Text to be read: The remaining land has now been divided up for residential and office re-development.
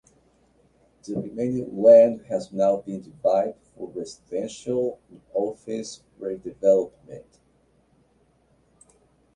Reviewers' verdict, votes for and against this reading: accepted, 2, 0